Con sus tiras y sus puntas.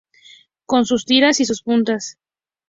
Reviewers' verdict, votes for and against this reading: accepted, 2, 0